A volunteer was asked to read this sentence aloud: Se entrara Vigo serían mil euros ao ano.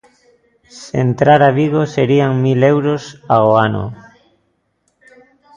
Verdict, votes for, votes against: accepted, 2, 0